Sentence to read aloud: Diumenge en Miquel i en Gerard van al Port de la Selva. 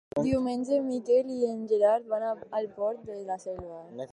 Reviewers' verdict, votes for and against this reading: rejected, 2, 4